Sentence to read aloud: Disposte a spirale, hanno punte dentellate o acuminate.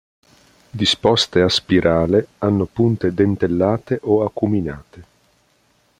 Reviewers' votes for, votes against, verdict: 2, 0, accepted